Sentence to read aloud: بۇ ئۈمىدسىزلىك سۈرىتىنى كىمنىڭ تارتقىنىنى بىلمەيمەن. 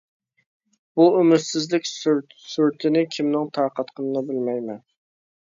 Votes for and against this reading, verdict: 0, 2, rejected